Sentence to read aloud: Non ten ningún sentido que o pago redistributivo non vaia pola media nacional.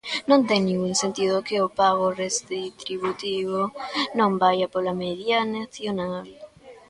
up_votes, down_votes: 0, 2